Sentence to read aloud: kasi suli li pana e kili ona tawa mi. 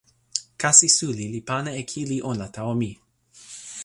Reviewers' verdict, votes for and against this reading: accepted, 2, 0